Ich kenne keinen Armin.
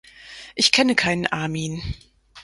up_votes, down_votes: 4, 0